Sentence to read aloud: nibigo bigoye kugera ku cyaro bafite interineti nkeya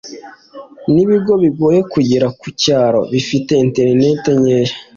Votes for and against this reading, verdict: 2, 0, accepted